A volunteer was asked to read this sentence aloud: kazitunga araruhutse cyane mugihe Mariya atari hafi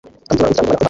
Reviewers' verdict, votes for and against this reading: rejected, 0, 2